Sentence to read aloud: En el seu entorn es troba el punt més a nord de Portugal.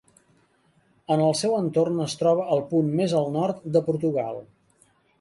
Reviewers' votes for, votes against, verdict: 1, 2, rejected